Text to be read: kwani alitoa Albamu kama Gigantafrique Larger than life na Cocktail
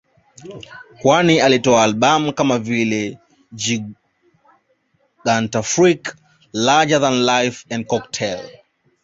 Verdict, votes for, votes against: rejected, 1, 2